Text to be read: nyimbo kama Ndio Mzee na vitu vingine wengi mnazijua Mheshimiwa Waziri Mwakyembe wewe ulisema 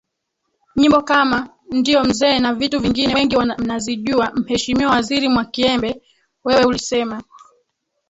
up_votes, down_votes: 2, 4